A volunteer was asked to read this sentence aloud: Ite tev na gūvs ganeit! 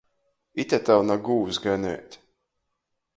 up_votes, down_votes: 2, 0